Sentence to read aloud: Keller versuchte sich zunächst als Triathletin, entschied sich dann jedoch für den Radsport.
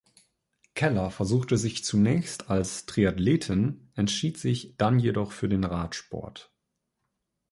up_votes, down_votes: 2, 0